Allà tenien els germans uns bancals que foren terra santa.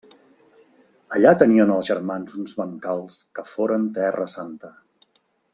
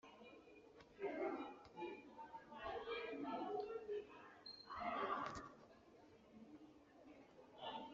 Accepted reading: first